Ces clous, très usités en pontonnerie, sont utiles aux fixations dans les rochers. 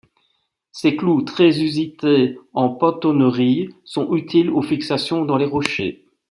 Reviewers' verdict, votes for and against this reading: accepted, 2, 1